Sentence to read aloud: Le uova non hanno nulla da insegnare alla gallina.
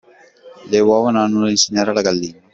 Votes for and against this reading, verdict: 2, 1, accepted